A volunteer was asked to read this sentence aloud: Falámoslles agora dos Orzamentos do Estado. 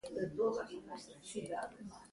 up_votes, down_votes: 1, 2